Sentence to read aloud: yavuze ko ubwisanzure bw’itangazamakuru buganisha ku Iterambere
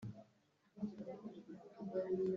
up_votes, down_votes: 0, 2